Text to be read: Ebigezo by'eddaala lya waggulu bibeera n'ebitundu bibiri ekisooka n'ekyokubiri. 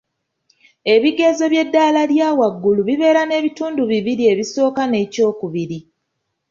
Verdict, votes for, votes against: accepted, 2, 0